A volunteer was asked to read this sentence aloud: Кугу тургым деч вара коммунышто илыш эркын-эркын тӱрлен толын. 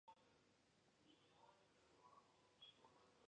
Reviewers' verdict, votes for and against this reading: rejected, 0, 2